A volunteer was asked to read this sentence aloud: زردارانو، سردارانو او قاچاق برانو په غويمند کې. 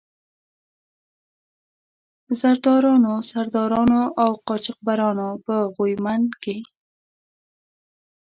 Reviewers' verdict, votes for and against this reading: accepted, 2, 1